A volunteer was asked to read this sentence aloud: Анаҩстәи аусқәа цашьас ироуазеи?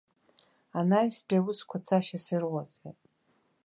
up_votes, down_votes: 1, 2